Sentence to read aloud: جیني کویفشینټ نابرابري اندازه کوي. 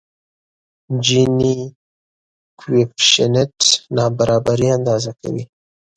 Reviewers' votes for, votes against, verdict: 2, 0, accepted